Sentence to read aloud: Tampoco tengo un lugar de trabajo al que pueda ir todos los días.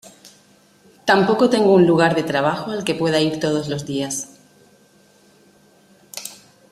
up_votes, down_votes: 2, 0